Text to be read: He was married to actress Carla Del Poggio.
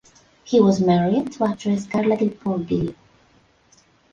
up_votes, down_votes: 1, 2